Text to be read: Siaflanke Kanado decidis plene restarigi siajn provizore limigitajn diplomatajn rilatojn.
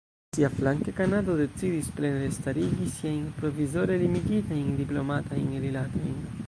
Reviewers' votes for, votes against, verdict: 0, 2, rejected